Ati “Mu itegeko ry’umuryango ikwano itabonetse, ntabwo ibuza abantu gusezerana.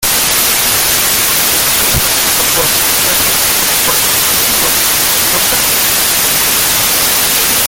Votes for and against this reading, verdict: 0, 2, rejected